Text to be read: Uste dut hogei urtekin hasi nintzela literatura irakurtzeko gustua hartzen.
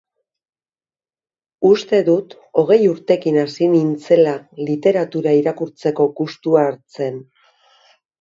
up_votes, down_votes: 3, 0